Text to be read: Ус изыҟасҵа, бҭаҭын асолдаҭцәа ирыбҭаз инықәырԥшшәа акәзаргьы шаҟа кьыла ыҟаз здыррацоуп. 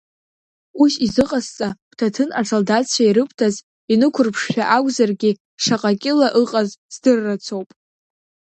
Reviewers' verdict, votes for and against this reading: accepted, 2, 1